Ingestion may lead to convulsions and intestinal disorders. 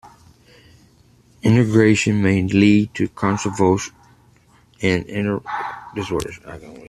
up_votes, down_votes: 0, 2